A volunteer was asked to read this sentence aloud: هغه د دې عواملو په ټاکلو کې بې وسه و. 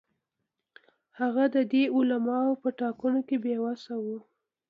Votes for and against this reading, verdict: 2, 0, accepted